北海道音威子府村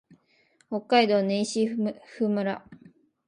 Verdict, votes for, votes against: accepted, 2, 0